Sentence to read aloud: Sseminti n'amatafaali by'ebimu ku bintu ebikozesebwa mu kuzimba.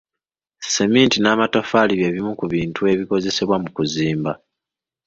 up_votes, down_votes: 3, 0